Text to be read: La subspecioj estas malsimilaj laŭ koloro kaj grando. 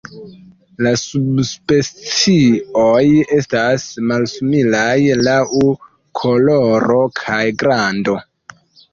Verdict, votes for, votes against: rejected, 0, 2